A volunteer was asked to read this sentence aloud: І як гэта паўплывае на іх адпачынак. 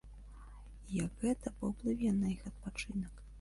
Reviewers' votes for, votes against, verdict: 0, 2, rejected